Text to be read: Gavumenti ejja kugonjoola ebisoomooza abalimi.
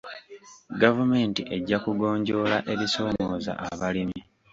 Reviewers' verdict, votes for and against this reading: accepted, 2, 0